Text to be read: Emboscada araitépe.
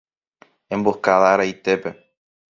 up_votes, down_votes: 2, 0